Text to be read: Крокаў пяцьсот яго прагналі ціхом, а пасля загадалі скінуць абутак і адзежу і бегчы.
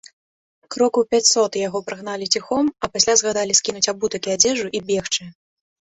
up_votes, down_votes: 2, 1